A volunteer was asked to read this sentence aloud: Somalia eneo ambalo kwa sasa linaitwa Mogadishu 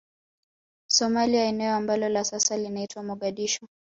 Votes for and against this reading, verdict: 1, 2, rejected